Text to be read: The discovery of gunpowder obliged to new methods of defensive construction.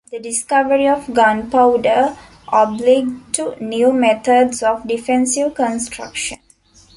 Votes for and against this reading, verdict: 2, 0, accepted